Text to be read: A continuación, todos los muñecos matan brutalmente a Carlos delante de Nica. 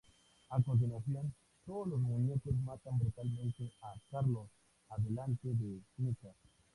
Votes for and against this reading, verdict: 0, 2, rejected